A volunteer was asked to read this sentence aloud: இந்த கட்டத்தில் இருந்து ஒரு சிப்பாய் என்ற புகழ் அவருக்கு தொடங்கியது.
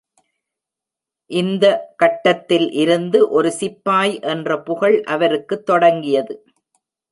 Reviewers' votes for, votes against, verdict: 2, 0, accepted